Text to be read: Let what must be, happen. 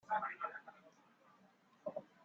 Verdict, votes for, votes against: rejected, 0, 2